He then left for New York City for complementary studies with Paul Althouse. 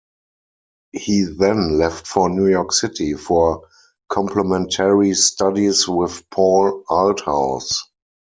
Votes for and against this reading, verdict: 0, 4, rejected